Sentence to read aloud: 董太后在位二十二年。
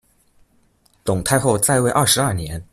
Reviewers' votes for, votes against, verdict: 2, 1, accepted